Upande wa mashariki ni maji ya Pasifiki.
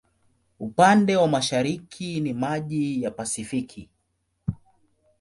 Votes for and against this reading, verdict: 2, 0, accepted